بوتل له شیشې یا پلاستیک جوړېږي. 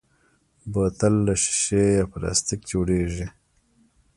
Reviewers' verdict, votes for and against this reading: rejected, 0, 2